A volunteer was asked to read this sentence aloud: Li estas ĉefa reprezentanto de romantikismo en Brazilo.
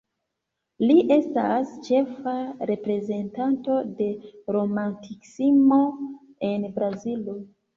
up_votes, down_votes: 0, 2